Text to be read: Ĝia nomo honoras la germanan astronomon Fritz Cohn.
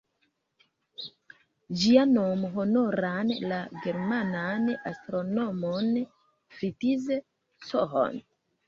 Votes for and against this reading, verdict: 0, 2, rejected